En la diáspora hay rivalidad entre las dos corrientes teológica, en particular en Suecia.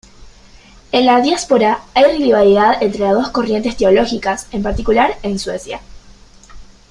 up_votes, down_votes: 2, 1